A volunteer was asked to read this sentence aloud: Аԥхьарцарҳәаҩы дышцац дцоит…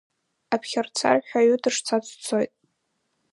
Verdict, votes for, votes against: accepted, 2, 1